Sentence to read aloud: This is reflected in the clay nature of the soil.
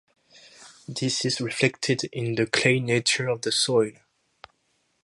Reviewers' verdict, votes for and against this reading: accepted, 2, 0